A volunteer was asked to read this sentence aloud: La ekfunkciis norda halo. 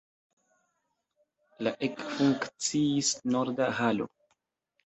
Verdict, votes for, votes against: rejected, 1, 2